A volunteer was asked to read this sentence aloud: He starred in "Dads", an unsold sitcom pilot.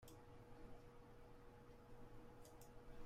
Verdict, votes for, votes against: rejected, 0, 2